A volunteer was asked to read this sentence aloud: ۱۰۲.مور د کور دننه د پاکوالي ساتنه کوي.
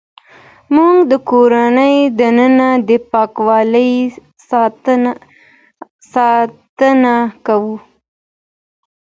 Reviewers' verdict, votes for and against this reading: rejected, 0, 2